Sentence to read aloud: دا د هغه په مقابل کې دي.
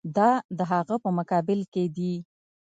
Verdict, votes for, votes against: accepted, 2, 0